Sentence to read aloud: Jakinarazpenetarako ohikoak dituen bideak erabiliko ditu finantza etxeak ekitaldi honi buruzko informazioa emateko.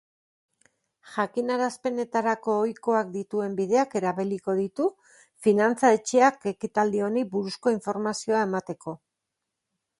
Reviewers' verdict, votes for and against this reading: accepted, 2, 0